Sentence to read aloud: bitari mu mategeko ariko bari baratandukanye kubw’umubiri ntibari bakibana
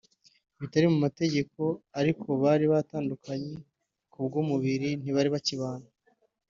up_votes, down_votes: 4, 0